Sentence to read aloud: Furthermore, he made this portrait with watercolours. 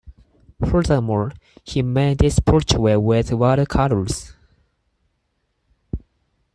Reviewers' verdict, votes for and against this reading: rejected, 2, 4